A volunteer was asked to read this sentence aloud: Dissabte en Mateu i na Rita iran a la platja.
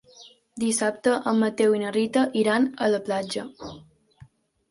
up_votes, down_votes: 4, 0